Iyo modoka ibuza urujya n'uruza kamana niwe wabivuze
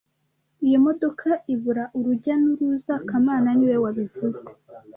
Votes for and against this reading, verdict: 1, 2, rejected